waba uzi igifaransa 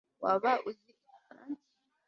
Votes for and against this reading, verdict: 1, 2, rejected